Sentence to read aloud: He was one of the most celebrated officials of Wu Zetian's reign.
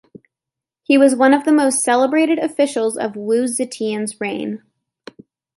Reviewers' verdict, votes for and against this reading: accepted, 2, 0